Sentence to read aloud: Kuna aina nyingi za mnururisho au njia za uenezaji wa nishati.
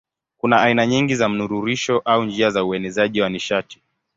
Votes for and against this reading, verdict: 7, 1, accepted